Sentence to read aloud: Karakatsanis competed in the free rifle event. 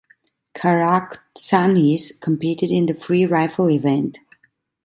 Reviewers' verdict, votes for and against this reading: rejected, 0, 2